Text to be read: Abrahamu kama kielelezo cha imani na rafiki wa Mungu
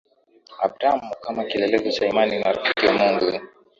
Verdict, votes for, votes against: accepted, 2, 0